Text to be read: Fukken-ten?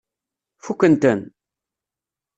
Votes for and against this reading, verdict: 2, 0, accepted